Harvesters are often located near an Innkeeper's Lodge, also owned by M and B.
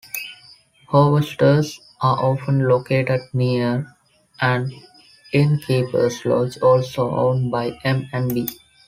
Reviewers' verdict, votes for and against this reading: accepted, 2, 1